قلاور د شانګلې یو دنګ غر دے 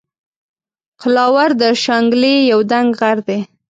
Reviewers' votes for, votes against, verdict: 2, 0, accepted